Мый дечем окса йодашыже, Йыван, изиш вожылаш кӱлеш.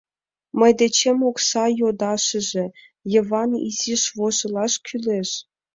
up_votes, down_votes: 2, 0